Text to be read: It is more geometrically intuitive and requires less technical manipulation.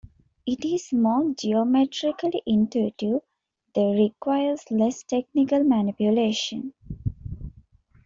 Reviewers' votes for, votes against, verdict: 2, 1, accepted